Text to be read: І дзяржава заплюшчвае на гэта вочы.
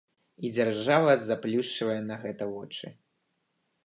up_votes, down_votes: 2, 0